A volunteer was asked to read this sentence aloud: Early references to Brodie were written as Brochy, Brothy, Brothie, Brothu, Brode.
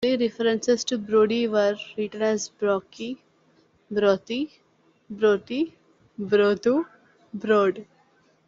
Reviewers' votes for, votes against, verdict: 2, 3, rejected